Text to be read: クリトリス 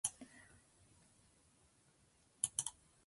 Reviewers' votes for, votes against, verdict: 0, 2, rejected